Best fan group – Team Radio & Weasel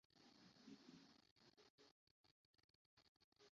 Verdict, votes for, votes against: rejected, 0, 2